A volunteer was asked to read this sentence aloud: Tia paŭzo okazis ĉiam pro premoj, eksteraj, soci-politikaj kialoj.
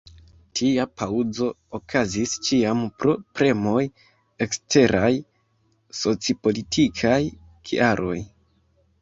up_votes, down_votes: 1, 2